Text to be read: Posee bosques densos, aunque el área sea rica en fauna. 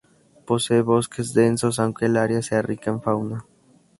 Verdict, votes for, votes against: rejected, 0, 2